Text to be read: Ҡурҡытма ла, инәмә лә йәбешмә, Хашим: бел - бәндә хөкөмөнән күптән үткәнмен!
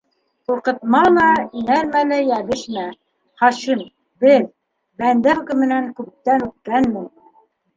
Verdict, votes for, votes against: rejected, 1, 2